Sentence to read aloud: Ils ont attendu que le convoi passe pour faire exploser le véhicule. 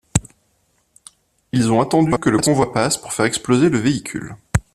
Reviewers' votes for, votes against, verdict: 0, 2, rejected